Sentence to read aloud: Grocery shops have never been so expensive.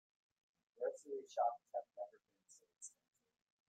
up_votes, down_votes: 0, 2